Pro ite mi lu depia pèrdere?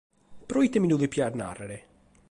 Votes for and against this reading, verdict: 0, 2, rejected